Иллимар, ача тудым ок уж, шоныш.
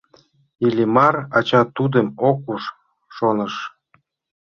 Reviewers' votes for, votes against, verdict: 2, 0, accepted